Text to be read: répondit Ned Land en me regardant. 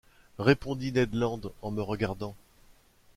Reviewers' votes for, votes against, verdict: 2, 0, accepted